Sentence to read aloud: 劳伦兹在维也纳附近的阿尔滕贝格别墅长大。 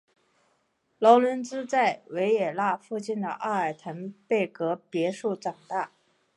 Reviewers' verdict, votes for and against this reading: accepted, 2, 1